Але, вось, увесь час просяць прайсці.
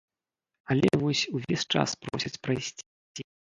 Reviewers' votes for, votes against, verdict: 0, 2, rejected